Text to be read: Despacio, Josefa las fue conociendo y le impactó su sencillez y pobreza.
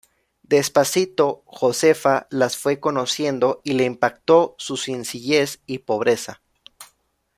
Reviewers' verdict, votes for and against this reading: rejected, 0, 2